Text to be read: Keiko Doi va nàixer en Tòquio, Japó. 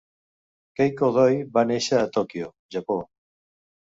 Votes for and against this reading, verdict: 1, 2, rejected